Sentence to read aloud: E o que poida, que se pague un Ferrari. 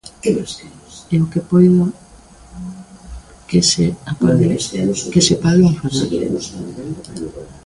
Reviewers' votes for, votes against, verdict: 1, 2, rejected